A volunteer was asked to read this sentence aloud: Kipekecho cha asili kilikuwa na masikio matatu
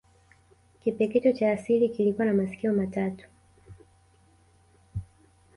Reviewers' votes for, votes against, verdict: 2, 0, accepted